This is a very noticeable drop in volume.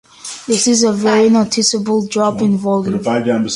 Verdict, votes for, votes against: rejected, 1, 2